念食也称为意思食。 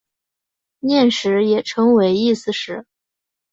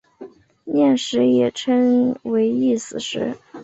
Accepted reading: first